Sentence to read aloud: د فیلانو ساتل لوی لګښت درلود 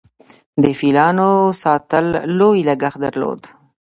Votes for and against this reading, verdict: 1, 2, rejected